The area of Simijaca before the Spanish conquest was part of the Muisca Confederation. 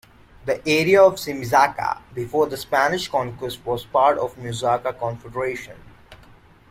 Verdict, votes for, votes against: rejected, 0, 2